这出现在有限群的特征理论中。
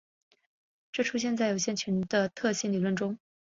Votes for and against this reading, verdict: 3, 1, accepted